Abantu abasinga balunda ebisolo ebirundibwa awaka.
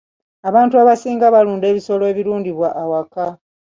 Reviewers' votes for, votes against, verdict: 2, 0, accepted